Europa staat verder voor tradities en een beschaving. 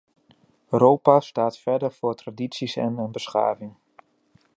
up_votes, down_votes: 2, 1